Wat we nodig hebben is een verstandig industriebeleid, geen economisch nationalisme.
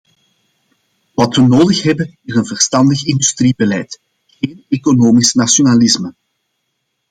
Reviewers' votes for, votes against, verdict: 2, 0, accepted